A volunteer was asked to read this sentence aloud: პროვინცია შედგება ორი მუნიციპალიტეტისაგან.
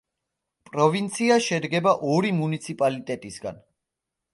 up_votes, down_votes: 2, 0